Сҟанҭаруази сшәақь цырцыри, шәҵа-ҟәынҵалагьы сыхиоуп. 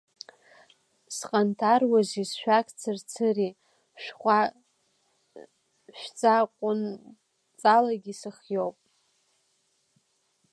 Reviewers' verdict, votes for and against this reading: rejected, 0, 2